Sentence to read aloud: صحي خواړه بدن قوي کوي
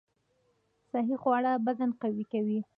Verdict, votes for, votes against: accepted, 2, 1